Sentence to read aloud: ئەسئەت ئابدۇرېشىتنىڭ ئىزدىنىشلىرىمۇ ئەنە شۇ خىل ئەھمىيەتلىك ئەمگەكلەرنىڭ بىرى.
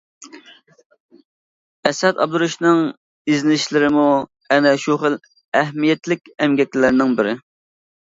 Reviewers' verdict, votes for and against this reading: accepted, 2, 1